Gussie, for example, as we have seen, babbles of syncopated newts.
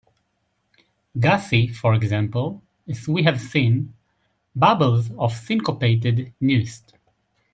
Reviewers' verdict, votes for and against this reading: rejected, 0, 2